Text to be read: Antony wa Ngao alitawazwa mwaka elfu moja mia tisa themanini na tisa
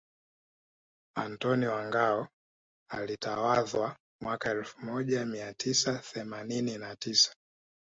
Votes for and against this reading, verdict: 4, 1, accepted